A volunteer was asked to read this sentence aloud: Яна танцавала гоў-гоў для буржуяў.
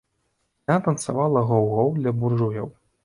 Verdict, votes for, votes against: rejected, 1, 2